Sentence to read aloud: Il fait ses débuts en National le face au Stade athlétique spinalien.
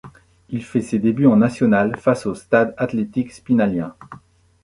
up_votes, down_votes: 0, 2